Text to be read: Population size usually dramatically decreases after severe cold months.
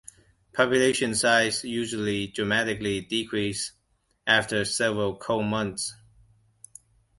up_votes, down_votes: 0, 2